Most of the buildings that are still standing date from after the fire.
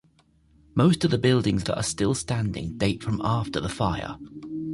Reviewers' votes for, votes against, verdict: 2, 0, accepted